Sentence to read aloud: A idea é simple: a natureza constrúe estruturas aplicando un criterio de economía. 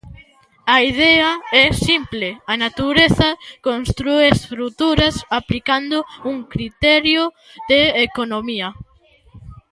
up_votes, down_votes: 2, 0